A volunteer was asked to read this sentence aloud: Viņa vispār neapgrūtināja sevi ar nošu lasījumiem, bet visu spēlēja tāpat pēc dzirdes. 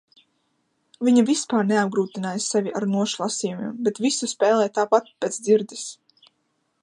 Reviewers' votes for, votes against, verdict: 2, 0, accepted